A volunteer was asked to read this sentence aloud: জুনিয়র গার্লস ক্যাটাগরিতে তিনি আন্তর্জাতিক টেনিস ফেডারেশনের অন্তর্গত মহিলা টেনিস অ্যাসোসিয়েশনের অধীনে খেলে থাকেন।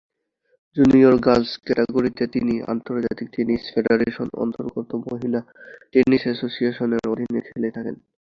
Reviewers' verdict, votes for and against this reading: rejected, 2, 2